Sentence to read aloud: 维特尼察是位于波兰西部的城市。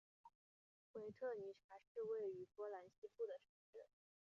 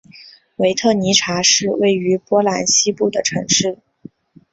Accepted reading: second